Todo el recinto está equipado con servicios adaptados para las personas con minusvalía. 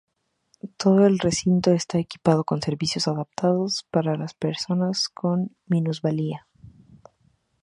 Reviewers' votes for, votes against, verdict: 2, 0, accepted